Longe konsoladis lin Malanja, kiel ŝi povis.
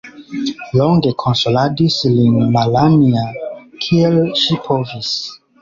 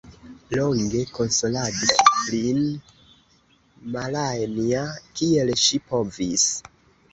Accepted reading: first